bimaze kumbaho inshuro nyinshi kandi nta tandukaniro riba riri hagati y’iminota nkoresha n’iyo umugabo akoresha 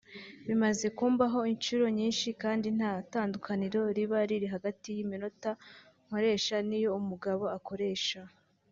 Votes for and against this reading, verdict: 2, 0, accepted